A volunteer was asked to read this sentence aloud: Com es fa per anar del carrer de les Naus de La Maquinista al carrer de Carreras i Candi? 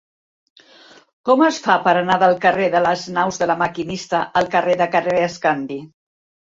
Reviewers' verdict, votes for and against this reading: rejected, 0, 2